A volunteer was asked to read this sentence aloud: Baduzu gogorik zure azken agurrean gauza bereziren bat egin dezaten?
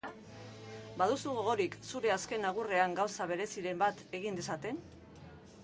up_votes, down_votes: 1, 2